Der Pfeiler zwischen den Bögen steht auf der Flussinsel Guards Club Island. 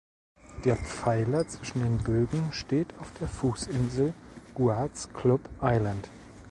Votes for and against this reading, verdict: 1, 2, rejected